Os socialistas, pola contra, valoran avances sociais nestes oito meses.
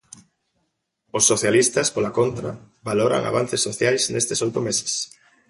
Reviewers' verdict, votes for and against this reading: accepted, 3, 0